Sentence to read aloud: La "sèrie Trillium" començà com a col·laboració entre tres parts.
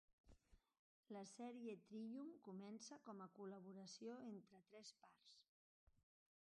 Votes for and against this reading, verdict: 2, 0, accepted